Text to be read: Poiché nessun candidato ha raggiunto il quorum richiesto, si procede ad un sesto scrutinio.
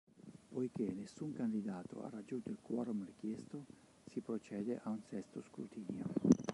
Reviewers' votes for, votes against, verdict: 1, 2, rejected